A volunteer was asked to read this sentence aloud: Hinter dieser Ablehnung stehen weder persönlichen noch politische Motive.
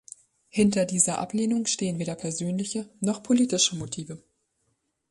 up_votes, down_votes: 0, 2